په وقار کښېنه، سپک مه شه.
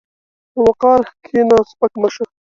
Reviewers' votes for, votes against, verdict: 2, 0, accepted